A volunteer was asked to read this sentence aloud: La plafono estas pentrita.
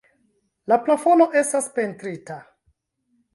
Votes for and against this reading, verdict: 0, 2, rejected